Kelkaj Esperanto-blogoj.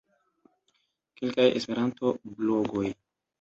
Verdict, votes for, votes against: rejected, 1, 2